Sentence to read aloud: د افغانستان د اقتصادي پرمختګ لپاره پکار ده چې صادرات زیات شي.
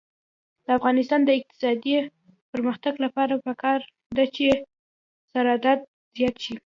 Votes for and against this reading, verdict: 2, 1, accepted